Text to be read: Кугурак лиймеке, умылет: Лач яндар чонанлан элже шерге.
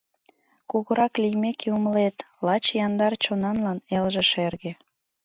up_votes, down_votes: 2, 0